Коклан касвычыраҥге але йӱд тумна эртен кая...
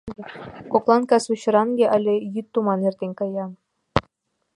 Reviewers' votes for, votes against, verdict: 0, 2, rejected